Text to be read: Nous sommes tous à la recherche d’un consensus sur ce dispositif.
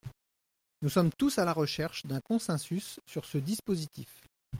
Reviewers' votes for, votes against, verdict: 1, 2, rejected